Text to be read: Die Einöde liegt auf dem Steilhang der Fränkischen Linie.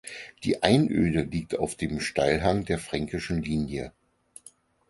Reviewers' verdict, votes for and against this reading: accepted, 4, 0